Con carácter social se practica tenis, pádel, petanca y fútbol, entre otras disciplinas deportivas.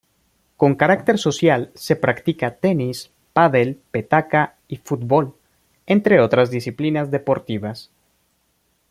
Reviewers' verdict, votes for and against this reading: rejected, 1, 2